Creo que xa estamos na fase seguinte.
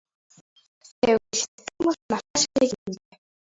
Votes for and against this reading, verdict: 0, 2, rejected